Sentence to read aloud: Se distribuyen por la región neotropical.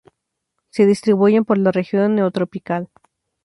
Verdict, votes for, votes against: accepted, 2, 0